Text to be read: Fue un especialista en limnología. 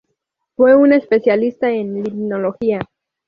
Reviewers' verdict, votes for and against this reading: accepted, 2, 0